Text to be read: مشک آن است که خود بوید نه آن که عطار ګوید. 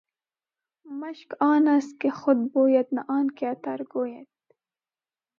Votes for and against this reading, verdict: 2, 1, accepted